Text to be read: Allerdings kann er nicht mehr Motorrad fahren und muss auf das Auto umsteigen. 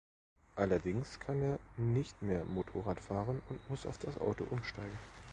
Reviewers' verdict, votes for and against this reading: rejected, 1, 2